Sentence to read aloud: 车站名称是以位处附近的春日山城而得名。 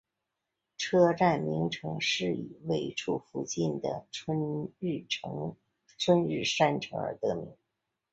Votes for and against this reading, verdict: 0, 3, rejected